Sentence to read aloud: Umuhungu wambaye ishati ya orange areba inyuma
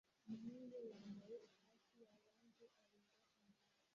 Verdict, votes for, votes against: rejected, 0, 2